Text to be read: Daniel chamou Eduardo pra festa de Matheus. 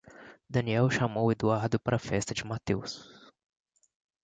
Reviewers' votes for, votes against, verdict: 2, 0, accepted